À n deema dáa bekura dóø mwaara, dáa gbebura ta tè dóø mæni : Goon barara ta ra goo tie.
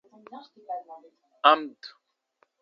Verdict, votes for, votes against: rejected, 0, 2